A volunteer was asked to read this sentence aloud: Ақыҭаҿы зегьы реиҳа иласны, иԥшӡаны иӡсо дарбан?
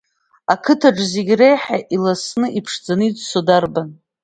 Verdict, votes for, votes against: rejected, 1, 2